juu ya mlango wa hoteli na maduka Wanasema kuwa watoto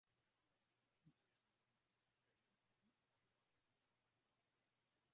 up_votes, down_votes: 0, 2